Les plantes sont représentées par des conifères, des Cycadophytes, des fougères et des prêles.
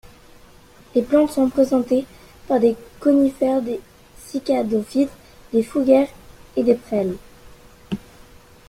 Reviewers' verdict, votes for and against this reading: rejected, 0, 2